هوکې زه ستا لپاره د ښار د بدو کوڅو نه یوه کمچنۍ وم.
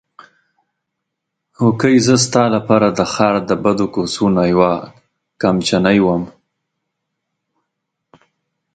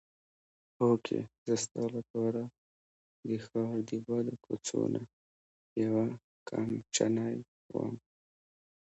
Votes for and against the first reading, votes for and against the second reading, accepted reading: 0, 2, 2, 1, second